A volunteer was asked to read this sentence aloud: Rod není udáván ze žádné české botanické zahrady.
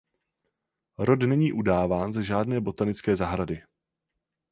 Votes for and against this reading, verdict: 0, 4, rejected